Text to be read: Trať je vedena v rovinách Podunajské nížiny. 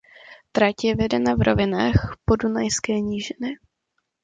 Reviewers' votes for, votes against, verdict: 2, 0, accepted